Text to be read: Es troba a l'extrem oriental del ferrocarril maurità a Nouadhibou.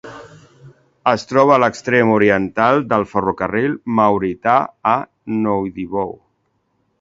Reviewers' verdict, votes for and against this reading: accepted, 2, 0